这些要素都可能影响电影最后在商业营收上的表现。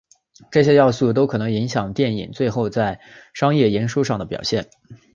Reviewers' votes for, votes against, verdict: 4, 1, accepted